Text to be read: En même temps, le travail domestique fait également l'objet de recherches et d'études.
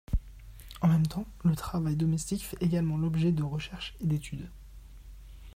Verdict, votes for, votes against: rejected, 1, 2